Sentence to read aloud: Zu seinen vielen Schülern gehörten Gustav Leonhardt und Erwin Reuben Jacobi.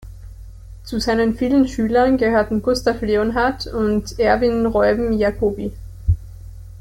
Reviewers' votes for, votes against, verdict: 1, 2, rejected